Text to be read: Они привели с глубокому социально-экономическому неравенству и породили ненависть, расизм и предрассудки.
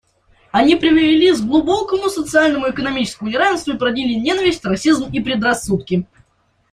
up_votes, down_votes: 1, 2